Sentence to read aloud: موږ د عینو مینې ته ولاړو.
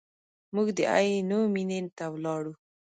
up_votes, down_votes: 0, 2